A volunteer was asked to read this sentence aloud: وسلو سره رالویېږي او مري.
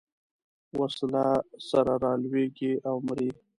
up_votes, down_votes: 0, 2